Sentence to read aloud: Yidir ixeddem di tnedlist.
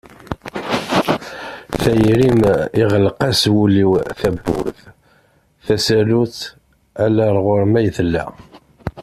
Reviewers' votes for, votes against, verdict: 0, 2, rejected